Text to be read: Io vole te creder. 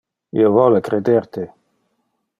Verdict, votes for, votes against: rejected, 0, 2